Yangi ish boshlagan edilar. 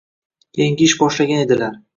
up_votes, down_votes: 2, 0